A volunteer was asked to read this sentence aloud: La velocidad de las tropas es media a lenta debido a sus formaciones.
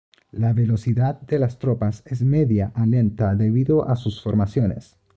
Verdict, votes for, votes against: accepted, 2, 0